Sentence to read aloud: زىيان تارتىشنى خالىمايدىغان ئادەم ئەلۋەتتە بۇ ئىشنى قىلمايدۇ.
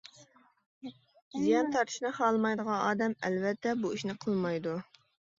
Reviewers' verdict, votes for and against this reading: accepted, 2, 0